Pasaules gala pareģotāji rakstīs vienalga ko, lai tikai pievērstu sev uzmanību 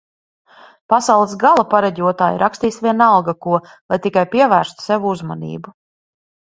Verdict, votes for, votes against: accepted, 2, 0